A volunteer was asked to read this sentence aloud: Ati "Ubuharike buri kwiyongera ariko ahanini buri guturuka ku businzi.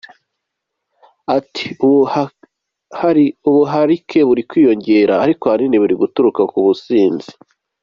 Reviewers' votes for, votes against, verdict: 1, 2, rejected